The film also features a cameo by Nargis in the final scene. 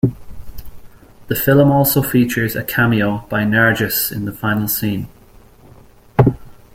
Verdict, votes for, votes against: accepted, 2, 1